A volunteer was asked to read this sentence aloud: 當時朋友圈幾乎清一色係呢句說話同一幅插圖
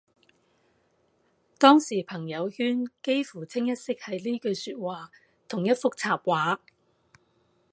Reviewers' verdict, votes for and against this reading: rejected, 0, 2